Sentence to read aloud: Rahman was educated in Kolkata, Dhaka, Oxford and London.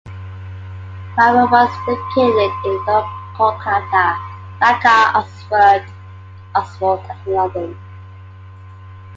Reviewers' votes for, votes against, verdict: 0, 2, rejected